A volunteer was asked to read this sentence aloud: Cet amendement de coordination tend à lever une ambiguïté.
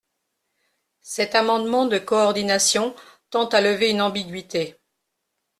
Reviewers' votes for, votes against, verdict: 2, 0, accepted